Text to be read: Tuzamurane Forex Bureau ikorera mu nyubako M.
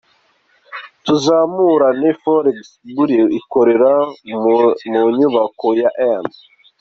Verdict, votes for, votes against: rejected, 0, 2